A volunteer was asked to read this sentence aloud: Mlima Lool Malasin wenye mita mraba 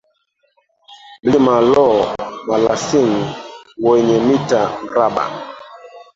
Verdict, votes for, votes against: rejected, 1, 2